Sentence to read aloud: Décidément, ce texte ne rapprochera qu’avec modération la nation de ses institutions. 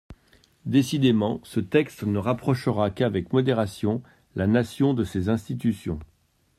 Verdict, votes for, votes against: accepted, 2, 0